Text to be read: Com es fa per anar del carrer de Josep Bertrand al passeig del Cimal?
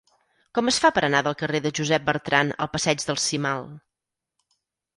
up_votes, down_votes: 4, 0